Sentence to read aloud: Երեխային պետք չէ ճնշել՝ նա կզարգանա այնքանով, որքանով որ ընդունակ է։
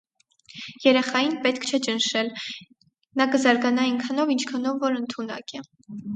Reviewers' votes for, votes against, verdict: 4, 2, accepted